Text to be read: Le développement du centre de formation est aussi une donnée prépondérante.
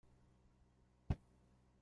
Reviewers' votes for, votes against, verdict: 0, 2, rejected